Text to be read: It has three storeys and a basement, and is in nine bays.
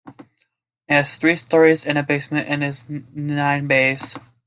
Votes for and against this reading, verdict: 2, 0, accepted